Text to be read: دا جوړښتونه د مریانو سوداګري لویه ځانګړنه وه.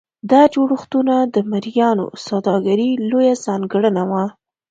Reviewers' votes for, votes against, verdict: 2, 0, accepted